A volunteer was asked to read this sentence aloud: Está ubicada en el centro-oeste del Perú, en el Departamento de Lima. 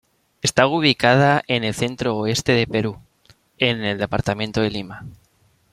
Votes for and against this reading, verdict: 2, 0, accepted